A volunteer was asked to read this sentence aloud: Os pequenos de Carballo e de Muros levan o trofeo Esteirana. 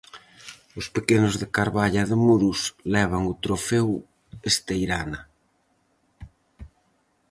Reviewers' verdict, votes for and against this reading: rejected, 2, 2